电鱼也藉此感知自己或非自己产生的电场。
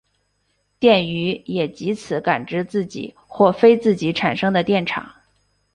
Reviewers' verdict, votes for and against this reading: accepted, 4, 2